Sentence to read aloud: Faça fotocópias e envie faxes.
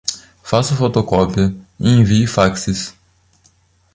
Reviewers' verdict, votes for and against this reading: rejected, 1, 2